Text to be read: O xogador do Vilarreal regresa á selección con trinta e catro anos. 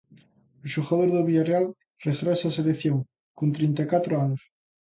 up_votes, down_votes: 1, 2